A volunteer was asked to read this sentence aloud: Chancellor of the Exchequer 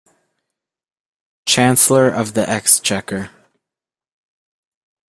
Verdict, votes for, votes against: accepted, 2, 0